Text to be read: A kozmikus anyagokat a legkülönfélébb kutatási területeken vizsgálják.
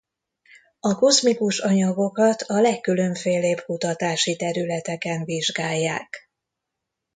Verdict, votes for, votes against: accepted, 2, 1